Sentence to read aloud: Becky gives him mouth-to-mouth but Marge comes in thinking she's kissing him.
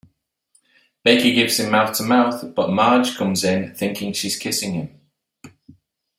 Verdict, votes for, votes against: accepted, 2, 0